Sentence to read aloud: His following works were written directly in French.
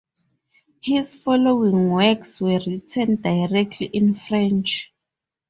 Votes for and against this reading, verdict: 2, 4, rejected